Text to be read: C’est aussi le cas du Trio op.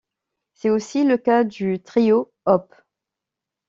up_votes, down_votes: 2, 0